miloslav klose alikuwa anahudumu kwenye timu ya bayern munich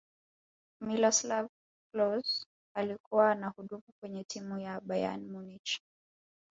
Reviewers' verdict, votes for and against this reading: accepted, 2, 0